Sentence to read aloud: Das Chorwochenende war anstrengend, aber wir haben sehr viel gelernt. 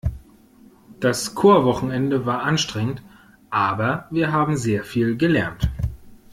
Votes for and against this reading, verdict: 2, 0, accepted